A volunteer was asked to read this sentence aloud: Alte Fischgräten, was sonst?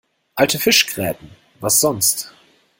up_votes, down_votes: 2, 0